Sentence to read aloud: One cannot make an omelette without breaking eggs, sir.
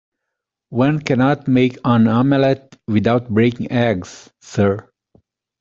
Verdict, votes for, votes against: accepted, 2, 0